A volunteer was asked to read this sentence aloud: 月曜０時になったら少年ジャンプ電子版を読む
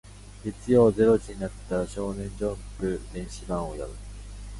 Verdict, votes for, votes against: rejected, 0, 2